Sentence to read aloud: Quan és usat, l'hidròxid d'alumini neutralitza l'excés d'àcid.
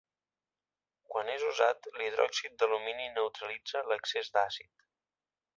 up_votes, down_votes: 1, 2